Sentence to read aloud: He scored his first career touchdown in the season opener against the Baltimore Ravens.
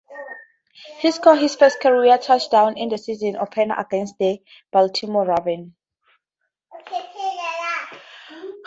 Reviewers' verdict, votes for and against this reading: accepted, 2, 0